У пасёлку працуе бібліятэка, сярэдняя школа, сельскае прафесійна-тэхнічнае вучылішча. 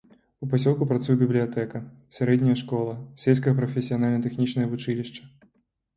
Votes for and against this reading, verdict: 0, 2, rejected